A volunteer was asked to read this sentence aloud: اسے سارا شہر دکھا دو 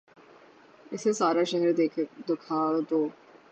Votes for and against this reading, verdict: 0, 3, rejected